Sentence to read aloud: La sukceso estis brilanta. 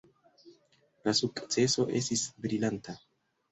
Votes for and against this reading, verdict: 1, 2, rejected